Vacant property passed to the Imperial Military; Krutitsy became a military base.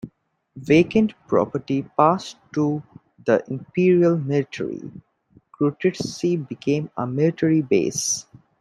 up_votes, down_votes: 2, 0